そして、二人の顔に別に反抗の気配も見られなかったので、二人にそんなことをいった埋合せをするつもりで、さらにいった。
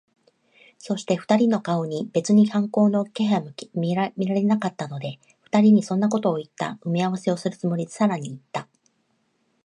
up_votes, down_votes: 1, 2